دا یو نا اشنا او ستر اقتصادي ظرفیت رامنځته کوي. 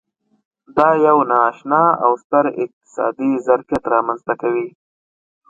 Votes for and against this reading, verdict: 3, 0, accepted